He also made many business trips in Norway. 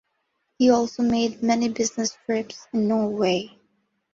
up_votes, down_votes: 2, 0